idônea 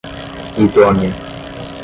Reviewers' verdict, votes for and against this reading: accepted, 5, 0